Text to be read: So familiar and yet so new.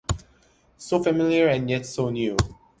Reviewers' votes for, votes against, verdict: 2, 0, accepted